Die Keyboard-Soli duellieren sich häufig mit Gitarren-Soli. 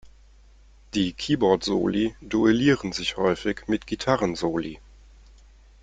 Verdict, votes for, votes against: accepted, 2, 0